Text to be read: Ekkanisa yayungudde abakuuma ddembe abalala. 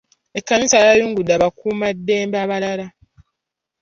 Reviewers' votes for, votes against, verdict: 2, 0, accepted